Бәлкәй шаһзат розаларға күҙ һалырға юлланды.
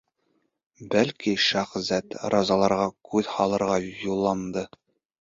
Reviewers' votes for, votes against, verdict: 0, 2, rejected